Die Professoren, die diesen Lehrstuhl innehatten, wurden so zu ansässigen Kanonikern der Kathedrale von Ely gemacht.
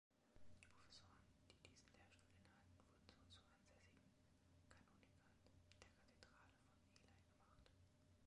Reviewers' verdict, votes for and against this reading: rejected, 0, 2